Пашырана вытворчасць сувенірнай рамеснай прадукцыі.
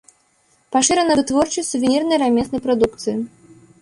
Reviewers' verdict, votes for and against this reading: accepted, 2, 0